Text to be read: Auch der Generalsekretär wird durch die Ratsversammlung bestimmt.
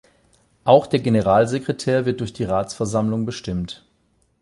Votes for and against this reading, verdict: 8, 0, accepted